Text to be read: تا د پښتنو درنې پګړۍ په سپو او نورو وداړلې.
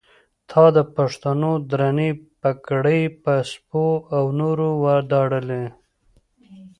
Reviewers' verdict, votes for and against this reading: rejected, 1, 2